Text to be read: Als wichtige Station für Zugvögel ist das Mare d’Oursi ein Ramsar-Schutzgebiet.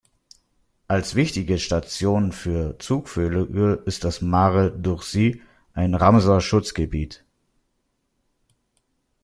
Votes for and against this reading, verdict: 1, 2, rejected